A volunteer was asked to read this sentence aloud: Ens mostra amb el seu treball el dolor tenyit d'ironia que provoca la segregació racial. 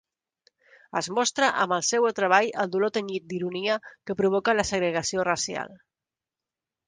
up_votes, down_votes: 1, 2